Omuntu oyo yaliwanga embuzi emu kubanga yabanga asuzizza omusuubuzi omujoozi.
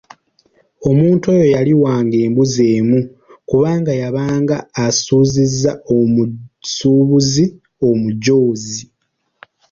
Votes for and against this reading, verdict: 1, 2, rejected